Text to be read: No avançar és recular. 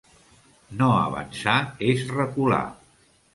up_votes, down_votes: 2, 0